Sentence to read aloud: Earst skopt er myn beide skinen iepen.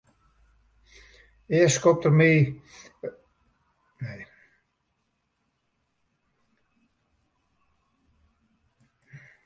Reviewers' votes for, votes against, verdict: 0, 2, rejected